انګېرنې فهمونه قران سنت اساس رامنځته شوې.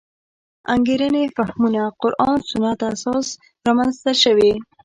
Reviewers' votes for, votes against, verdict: 2, 1, accepted